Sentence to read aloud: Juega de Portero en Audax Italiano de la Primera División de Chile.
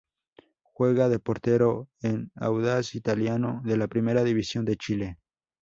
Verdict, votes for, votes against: accepted, 4, 0